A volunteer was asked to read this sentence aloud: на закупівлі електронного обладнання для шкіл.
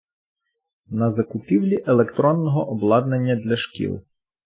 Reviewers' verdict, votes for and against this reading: accepted, 2, 0